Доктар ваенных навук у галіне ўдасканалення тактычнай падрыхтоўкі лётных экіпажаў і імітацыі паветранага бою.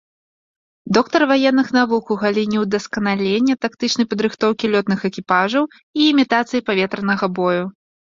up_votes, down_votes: 1, 2